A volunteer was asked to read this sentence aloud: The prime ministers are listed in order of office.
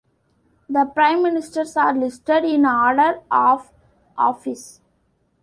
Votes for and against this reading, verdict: 1, 2, rejected